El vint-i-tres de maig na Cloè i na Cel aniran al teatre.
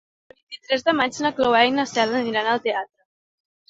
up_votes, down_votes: 1, 2